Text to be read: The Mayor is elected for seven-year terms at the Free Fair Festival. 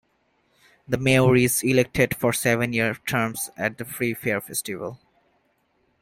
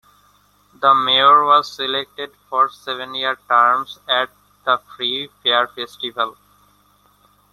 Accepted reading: first